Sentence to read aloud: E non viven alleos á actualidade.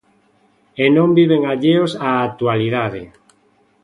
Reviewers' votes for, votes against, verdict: 2, 0, accepted